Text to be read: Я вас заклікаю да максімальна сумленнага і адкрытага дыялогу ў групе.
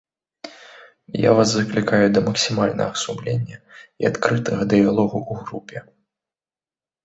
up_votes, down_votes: 1, 2